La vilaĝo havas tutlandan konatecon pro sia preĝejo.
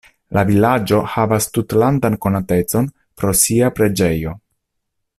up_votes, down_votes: 2, 0